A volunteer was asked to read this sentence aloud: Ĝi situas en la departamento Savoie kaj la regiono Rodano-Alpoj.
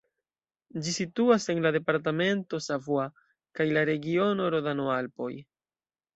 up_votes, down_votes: 2, 0